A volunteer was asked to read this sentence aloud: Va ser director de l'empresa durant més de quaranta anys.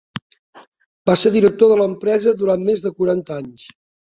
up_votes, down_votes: 4, 0